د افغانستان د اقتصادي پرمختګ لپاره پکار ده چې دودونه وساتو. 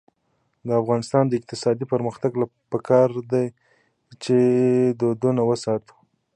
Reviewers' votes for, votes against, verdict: 2, 0, accepted